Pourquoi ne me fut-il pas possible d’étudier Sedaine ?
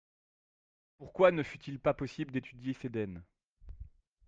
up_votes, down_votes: 0, 2